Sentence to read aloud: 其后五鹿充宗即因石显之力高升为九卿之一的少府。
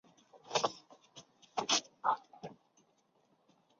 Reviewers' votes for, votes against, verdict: 0, 2, rejected